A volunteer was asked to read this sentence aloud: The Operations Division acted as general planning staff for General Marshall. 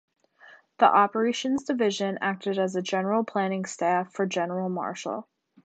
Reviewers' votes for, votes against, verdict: 1, 2, rejected